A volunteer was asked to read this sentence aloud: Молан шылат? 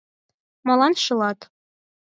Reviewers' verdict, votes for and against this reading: accepted, 4, 0